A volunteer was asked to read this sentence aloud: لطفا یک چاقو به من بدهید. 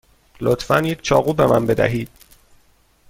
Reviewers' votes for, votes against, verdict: 2, 0, accepted